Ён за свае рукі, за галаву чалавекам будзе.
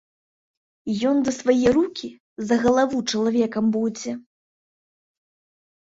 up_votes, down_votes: 2, 0